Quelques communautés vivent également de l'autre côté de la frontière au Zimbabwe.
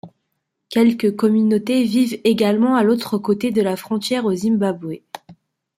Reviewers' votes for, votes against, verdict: 0, 2, rejected